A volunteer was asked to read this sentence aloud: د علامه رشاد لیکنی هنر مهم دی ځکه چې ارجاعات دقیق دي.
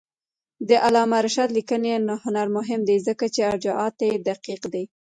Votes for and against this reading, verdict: 0, 2, rejected